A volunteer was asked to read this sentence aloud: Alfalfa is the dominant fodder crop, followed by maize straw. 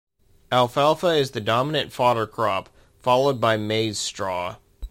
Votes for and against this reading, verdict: 2, 0, accepted